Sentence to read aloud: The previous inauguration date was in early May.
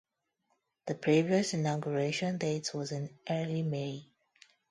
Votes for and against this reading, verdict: 0, 2, rejected